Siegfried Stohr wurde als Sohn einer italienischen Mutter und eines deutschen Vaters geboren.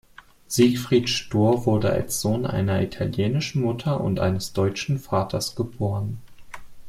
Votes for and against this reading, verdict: 2, 0, accepted